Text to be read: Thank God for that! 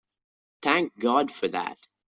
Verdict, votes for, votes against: accepted, 2, 1